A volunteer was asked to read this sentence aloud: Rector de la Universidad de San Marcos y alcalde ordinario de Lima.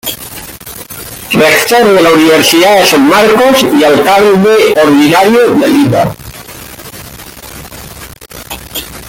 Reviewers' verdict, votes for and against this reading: rejected, 1, 2